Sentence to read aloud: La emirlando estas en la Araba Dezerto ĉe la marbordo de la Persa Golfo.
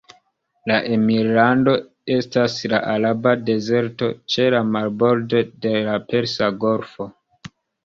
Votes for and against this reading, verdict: 1, 2, rejected